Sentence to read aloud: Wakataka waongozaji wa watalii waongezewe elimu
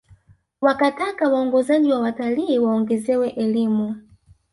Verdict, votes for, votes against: rejected, 1, 2